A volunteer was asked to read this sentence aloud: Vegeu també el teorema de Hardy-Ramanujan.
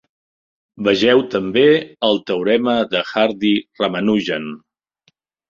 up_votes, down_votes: 4, 0